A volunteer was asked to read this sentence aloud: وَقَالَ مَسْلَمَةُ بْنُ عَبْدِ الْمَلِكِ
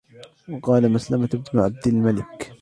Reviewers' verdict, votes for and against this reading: rejected, 1, 2